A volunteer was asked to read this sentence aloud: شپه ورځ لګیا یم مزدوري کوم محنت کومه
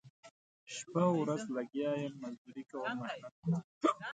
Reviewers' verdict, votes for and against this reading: rejected, 0, 2